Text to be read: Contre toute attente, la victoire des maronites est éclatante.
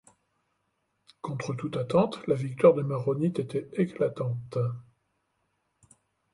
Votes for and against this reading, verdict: 0, 2, rejected